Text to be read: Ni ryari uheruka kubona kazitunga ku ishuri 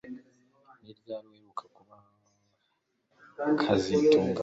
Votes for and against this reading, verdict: 2, 0, accepted